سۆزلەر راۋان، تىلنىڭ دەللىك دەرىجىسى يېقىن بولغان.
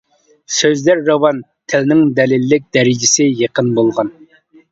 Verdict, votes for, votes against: accepted, 2, 1